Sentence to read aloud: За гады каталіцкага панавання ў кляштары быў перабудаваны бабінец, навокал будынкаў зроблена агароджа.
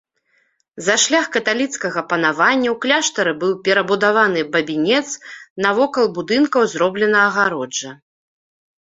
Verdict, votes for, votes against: rejected, 0, 2